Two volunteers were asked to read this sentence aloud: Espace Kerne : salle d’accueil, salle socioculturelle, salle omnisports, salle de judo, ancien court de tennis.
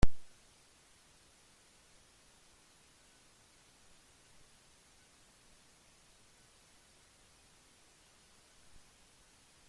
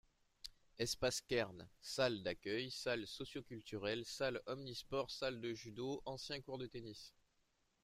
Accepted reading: second